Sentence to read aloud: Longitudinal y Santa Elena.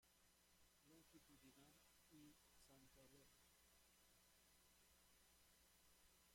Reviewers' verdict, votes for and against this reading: rejected, 0, 2